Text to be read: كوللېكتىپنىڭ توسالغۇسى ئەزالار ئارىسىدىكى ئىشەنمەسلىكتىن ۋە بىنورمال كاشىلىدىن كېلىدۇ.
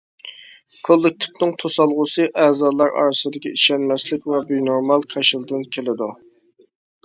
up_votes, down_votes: 0, 2